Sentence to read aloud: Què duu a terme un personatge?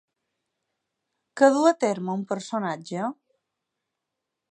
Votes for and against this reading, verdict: 8, 0, accepted